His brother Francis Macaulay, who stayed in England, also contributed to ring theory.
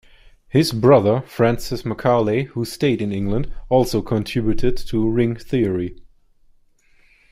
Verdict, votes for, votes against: accepted, 2, 0